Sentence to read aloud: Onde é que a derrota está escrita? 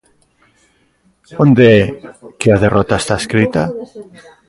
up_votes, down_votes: 0, 2